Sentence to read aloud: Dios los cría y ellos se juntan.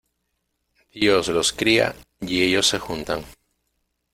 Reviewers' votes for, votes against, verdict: 2, 0, accepted